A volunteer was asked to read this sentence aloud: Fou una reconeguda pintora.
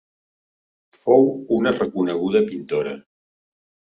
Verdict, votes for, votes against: accepted, 2, 0